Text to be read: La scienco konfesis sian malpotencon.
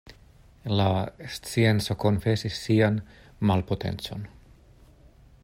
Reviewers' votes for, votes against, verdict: 2, 0, accepted